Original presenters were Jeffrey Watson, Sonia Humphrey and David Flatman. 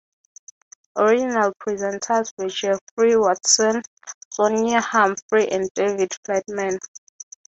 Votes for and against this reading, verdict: 6, 0, accepted